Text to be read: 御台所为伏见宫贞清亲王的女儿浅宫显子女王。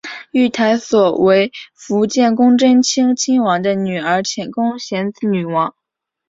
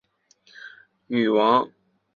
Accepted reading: first